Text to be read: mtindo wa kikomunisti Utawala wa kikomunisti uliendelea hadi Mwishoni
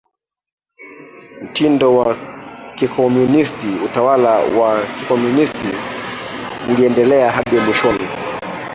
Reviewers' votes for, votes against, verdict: 1, 2, rejected